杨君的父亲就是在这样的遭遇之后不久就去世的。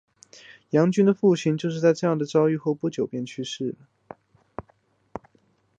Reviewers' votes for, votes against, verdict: 3, 0, accepted